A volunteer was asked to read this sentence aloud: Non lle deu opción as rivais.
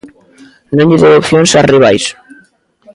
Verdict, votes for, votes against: rejected, 0, 2